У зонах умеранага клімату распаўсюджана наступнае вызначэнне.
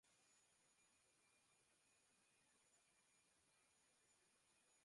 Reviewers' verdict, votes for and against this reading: rejected, 0, 3